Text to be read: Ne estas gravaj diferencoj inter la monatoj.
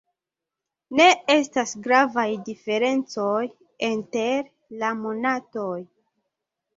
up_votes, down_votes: 0, 2